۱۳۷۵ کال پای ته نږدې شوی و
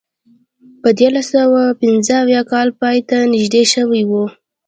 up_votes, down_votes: 0, 2